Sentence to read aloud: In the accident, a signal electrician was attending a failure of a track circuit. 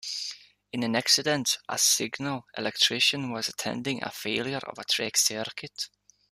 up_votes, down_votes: 0, 2